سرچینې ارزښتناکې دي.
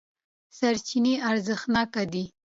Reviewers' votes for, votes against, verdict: 2, 0, accepted